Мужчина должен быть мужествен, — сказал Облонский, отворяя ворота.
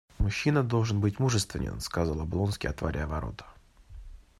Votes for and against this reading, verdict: 2, 0, accepted